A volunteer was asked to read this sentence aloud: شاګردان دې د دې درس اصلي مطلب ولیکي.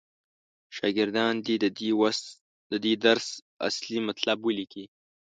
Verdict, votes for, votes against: rejected, 0, 2